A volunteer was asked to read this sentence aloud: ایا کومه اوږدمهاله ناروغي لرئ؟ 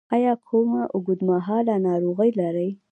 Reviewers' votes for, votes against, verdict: 2, 0, accepted